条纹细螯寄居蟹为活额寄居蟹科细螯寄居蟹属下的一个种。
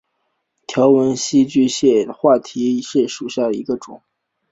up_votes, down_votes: 0, 2